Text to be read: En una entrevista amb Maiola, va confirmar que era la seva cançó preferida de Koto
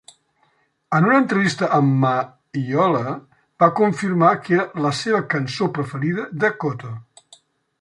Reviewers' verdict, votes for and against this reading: accepted, 2, 0